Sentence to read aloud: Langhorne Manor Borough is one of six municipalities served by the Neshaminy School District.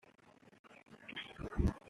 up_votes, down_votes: 0, 2